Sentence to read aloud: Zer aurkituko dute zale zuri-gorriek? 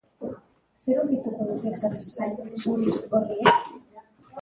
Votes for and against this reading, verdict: 0, 2, rejected